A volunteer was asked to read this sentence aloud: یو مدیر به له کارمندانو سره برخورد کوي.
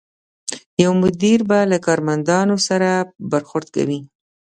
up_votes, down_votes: 2, 0